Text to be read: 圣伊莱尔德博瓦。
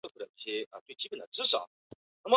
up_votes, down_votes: 0, 2